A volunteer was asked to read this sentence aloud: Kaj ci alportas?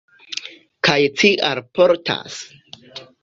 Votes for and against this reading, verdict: 2, 1, accepted